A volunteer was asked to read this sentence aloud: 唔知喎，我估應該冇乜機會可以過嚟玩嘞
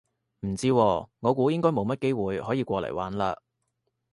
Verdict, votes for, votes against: accepted, 2, 0